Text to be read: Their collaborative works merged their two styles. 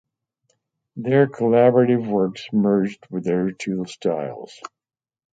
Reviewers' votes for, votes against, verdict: 4, 0, accepted